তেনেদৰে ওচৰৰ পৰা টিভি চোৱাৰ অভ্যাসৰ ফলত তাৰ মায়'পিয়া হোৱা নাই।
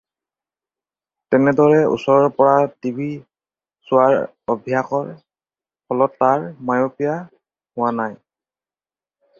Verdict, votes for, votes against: accepted, 4, 0